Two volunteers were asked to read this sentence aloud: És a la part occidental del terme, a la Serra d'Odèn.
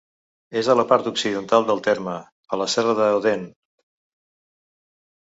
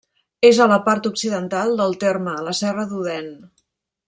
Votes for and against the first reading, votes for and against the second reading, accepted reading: 0, 2, 2, 0, second